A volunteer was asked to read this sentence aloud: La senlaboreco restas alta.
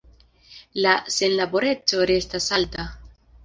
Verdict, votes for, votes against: accepted, 2, 1